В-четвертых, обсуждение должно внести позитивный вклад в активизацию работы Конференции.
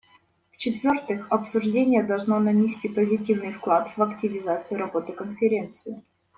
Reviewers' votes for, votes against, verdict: 1, 2, rejected